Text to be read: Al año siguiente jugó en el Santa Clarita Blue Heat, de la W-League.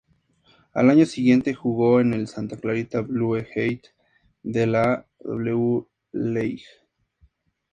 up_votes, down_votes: 2, 0